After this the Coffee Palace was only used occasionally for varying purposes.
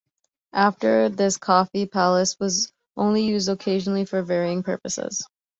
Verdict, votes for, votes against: rejected, 1, 2